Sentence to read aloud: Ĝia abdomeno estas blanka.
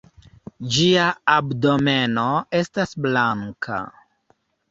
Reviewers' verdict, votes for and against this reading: accepted, 2, 0